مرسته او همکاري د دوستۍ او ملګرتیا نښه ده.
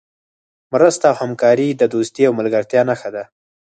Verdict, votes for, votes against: rejected, 2, 4